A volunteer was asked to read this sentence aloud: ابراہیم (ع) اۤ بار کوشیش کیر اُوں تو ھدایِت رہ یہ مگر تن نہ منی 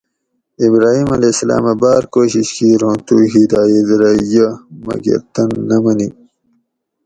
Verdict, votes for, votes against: accepted, 4, 0